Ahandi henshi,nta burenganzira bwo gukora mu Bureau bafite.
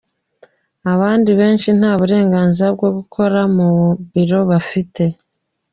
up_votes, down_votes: 1, 2